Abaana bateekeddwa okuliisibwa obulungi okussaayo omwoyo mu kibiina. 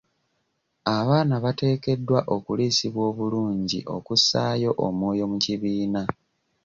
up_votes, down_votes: 2, 0